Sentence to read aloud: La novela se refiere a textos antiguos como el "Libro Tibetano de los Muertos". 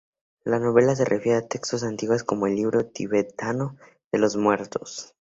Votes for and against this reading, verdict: 2, 0, accepted